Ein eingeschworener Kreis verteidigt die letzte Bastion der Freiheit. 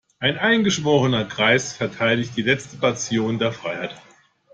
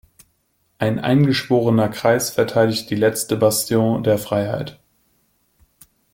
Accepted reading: second